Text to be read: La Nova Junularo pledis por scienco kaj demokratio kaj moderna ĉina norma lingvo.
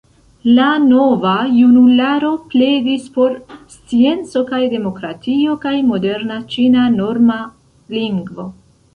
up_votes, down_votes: 3, 0